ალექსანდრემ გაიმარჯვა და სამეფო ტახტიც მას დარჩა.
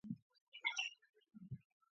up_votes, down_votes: 0, 2